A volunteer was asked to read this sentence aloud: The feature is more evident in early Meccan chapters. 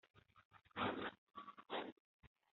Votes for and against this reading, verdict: 0, 2, rejected